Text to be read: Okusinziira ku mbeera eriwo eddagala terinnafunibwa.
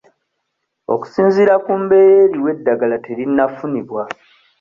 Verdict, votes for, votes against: accepted, 2, 0